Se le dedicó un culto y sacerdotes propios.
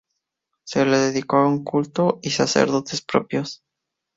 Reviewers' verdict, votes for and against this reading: accepted, 2, 0